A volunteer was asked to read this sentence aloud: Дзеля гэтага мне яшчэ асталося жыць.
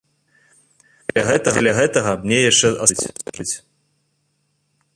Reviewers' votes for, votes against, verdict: 0, 2, rejected